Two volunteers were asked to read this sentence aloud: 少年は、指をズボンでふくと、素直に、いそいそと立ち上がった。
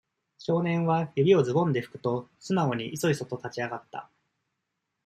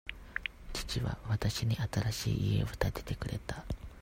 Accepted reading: first